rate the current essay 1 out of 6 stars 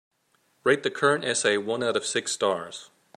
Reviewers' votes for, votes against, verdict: 0, 2, rejected